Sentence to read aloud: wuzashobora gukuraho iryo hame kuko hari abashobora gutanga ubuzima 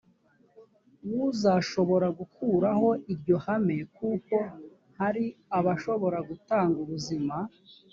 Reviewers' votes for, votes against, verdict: 2, 0, accepted